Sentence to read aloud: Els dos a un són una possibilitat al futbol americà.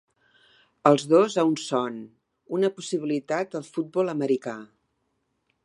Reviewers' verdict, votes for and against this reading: rejected, 0, 2